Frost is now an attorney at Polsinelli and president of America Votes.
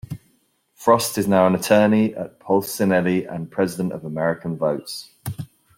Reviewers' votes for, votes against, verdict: 1, 2, rejected